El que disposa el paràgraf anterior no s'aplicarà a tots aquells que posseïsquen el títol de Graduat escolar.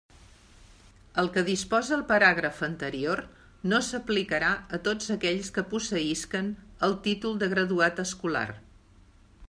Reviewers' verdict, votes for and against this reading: accepted, 3, 0